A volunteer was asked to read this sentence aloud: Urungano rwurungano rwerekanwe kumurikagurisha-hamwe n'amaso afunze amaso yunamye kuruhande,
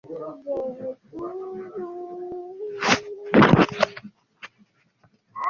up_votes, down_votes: 0, 2